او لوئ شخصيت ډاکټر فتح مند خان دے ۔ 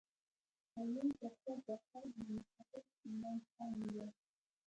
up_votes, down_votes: 1, 2